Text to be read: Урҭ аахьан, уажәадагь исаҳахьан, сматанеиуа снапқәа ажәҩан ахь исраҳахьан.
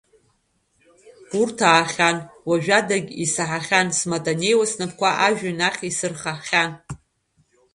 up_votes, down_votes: 0, 2